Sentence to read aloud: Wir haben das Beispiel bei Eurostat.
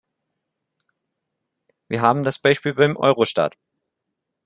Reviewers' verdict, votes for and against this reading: rejected, 1, 2